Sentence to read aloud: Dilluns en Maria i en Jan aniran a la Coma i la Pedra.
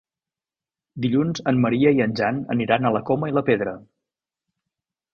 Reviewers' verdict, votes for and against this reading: accepted, 3, 0